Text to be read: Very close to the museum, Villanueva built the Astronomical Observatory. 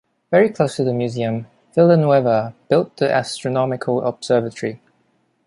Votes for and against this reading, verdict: 2, 0, accepted